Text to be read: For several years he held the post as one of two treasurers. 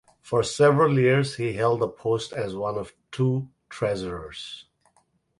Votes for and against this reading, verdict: 4, 2, accepted